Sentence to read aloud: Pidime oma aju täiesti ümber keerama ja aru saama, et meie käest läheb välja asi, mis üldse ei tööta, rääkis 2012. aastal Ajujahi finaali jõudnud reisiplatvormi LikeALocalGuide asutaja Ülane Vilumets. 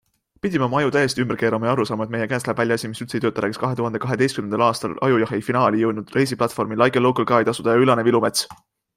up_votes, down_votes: 0, 2